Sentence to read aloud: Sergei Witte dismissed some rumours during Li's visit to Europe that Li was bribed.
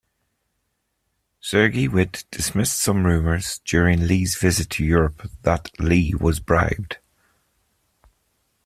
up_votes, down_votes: 2, 0